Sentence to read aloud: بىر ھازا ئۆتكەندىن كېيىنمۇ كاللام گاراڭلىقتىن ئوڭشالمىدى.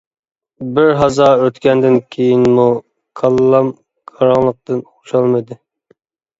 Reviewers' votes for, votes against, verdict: 1, 2, rejected